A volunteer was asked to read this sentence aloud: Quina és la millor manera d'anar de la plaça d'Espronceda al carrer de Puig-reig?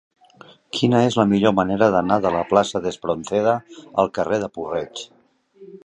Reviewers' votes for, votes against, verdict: 1, 2, rejected